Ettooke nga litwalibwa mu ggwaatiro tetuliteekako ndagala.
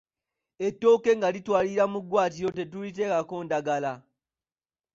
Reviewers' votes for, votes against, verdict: 2, 0, accepted